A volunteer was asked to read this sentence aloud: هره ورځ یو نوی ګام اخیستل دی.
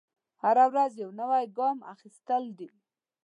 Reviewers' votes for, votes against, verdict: 1, 2, rejected